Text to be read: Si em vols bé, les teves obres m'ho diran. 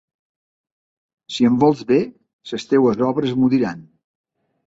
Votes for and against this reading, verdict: 2, 3, rejected